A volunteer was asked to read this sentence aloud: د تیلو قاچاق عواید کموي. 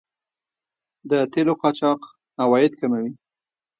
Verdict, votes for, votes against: rejected, 1, 2